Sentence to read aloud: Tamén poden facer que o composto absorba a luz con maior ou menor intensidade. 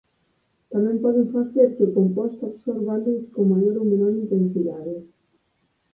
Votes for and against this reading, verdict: 0, 4, rejected